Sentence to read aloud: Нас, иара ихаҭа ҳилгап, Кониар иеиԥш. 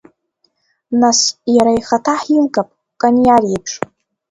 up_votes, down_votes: 2, 0